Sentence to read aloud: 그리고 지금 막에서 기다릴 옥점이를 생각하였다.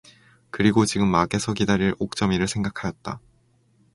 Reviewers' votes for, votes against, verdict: 0, 2, rejected